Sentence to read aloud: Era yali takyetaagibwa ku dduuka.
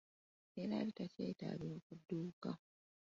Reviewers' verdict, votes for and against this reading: rejected, 0, 2